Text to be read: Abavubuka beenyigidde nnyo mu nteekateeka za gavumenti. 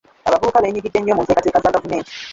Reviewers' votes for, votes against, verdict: 1, 2, rejected